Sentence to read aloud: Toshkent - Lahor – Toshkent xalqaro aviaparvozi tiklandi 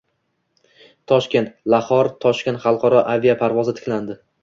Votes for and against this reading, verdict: 2, 0, accepted